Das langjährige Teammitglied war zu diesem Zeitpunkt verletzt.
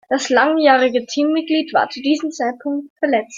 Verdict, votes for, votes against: rejected, 1, 2